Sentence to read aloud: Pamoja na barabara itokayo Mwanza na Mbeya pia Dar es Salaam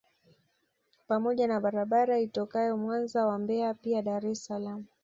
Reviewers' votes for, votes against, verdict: 1, 2, rejected